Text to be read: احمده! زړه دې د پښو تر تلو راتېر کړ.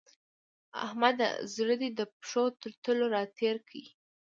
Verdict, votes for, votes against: accepted, 2, 0